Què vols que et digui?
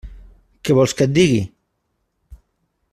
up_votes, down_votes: 3, 0